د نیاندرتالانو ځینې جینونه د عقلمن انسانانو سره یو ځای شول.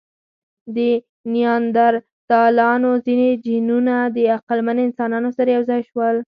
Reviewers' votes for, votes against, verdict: 2, 4, rejected